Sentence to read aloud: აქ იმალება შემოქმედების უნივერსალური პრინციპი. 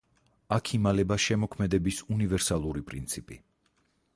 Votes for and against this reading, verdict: 2, 4, rejected